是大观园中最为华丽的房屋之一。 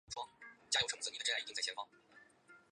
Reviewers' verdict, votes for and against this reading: rejected, 0, 5